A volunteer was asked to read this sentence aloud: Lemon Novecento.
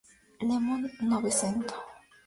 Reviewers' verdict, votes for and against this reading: rejected, 0, 2